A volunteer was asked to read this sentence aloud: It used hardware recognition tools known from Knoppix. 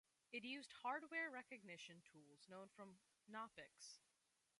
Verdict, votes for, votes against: accepted, 2, 0